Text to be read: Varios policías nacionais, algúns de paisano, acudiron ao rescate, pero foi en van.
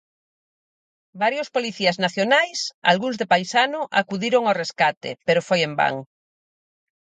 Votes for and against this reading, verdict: 4, 0, accepted